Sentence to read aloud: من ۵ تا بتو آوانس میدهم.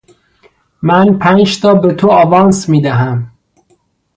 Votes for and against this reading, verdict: 0, 2, rejected